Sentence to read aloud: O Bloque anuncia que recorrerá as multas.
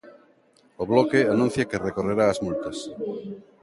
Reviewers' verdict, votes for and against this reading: rejected, 1, 2